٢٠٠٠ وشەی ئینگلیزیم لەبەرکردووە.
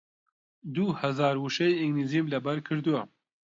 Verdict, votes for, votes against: rejected, 0, 2